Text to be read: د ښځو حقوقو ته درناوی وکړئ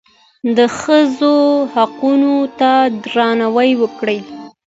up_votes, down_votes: 2, 0